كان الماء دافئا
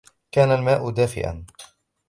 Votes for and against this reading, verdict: 0, 2, rejected